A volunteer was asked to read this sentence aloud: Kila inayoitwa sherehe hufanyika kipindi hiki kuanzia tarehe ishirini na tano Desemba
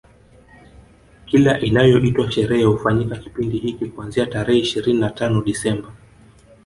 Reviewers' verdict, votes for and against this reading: accepted, 2, 0